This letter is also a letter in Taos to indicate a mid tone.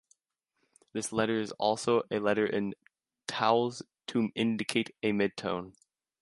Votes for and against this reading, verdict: 0, 2, rejected